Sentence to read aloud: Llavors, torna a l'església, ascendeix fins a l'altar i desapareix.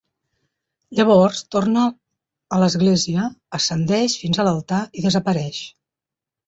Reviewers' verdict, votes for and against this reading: accepted, 4, 0